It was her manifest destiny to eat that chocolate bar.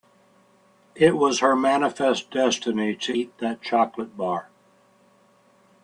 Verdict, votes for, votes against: accepted, 2, 0